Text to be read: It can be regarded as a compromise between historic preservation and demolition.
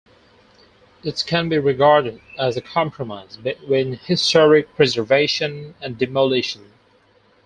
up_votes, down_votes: 4, 0